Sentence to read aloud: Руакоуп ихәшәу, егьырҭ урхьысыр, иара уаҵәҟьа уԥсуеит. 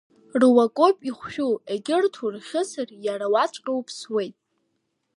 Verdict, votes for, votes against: rejected, 1, 2